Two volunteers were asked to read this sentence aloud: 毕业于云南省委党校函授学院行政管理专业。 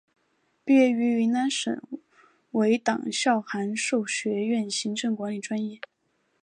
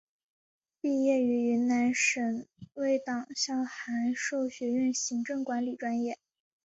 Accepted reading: second